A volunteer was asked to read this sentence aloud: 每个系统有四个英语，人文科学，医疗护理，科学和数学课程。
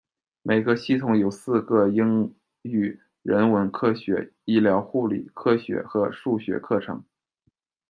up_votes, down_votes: 2, 0